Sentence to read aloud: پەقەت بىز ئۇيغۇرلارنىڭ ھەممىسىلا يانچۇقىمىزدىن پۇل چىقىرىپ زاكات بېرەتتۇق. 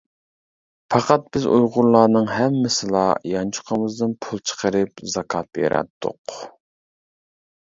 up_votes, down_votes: 1, 2